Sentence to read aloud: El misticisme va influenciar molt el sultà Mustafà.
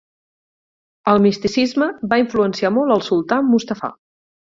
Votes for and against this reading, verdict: 8, 0, accepted